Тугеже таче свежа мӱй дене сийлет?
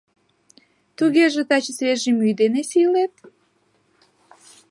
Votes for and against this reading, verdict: 2, 1, accepted